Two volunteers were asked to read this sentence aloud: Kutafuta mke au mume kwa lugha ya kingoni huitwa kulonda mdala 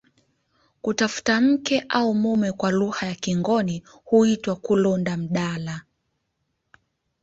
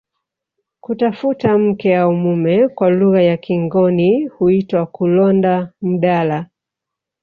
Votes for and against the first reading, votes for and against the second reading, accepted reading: 2, 0, 0, 2, first